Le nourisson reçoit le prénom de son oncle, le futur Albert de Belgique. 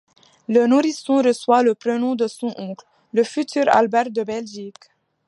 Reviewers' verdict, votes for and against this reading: accepted, 2, 0